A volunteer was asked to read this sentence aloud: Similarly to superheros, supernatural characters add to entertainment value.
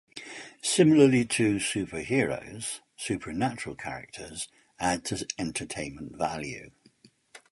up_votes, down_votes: 0, 2